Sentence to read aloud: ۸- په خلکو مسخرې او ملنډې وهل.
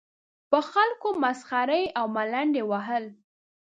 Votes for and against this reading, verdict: 0, 2, rejected